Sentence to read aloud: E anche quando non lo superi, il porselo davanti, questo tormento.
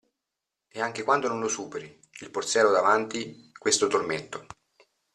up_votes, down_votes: 0, 2